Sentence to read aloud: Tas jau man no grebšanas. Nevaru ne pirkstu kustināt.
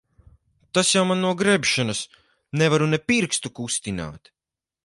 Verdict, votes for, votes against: accepted, 4, 0